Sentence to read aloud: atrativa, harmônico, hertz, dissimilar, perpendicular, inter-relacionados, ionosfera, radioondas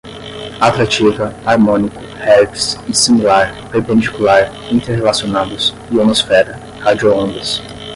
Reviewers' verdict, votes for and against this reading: rejected, 0, 5